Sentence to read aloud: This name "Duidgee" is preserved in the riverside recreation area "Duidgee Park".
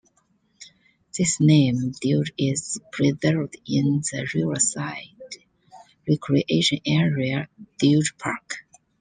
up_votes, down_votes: 0, 2